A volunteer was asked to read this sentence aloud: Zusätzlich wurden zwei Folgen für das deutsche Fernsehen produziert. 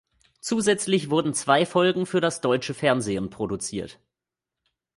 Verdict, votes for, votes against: accepted, 2, 0